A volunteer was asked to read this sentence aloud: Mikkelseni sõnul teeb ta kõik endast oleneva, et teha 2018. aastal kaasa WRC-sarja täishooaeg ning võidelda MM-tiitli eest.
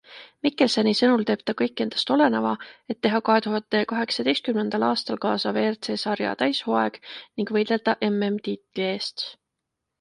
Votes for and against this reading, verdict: 0, 2, rejected